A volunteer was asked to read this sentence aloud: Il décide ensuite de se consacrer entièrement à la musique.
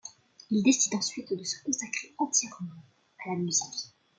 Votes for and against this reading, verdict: 2, 1, accepted